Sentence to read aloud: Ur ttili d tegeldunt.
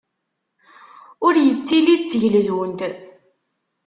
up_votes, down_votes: 1, 2